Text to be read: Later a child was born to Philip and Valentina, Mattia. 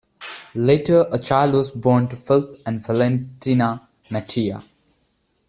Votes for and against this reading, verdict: 0, 2, rejected